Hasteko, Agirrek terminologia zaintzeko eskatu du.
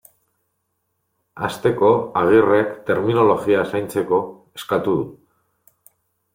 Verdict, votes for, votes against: rejected, 0, 2